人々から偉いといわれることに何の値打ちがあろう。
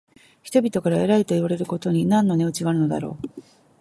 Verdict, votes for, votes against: accepted, 2, 0